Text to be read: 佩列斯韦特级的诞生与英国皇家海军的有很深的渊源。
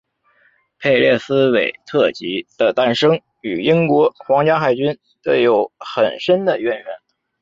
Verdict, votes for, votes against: accepted, 2, 0